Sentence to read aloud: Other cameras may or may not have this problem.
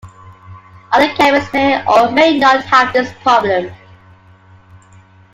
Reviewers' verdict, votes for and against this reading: accepted, 2, 0